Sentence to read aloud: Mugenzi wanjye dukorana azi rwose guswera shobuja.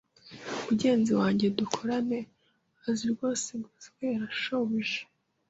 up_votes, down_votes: 0, 2